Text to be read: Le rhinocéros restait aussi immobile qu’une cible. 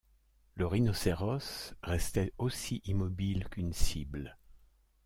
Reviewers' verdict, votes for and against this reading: accepted, 2, 0